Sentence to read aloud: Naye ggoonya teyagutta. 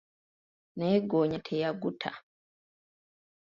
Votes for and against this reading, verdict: 3, 1, accepted